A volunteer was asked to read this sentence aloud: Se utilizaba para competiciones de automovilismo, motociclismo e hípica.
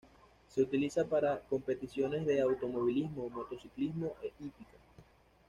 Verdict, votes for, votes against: rejected, 1, 2